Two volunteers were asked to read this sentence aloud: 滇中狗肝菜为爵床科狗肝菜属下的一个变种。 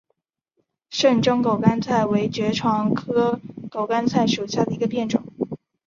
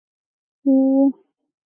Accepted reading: first